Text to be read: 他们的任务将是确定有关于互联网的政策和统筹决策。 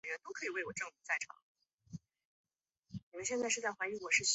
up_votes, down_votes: 0, 3